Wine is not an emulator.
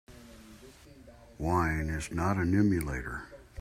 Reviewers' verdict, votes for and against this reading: accepted, 4, 0